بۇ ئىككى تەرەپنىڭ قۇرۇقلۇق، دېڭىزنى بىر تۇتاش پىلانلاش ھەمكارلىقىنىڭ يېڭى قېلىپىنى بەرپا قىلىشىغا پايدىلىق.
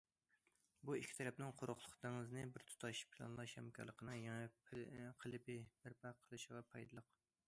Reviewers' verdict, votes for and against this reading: rejected, 0, 2